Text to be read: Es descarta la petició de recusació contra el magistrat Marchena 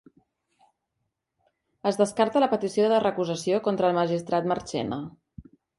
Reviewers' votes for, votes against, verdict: 3, 0, accepted